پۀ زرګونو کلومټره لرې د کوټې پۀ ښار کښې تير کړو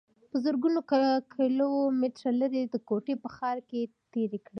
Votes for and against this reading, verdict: 2, 0, accepted